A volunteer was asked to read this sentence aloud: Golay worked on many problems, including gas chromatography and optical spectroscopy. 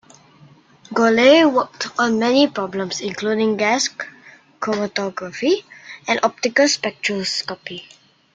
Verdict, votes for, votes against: rejected, 0, 2